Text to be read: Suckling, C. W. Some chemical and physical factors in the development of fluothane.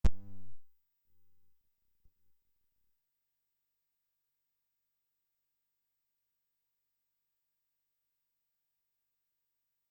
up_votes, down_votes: 0, 2